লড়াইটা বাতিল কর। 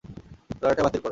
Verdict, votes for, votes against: accepted, 2, 0